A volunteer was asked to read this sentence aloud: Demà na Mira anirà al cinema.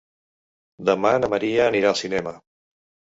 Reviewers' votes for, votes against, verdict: 0, 2, rejected